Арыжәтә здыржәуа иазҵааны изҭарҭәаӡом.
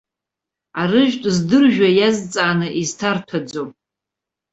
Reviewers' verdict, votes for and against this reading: accepted, 2, 0